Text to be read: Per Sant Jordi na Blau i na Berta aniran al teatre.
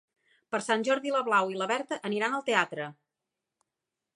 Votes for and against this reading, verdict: 1, 2, rejected